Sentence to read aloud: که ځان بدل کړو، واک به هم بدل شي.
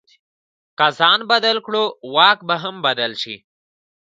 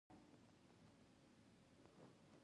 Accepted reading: first